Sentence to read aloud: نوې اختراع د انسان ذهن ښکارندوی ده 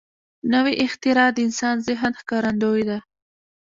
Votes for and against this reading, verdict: 1, 2, rejected